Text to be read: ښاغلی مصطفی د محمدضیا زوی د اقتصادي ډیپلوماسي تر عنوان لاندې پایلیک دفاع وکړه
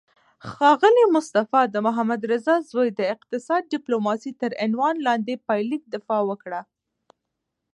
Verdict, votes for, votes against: rejected, 1, 2